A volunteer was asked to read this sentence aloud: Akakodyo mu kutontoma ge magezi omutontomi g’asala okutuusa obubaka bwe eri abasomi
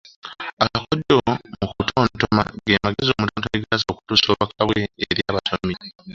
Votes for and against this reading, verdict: 1, 2, rejected